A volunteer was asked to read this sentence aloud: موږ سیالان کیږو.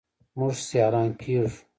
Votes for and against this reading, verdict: 2, 0, accepted